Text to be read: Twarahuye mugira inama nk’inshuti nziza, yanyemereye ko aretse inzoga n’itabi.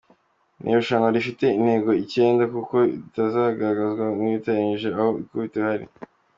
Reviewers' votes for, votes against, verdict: 1, 3, rejected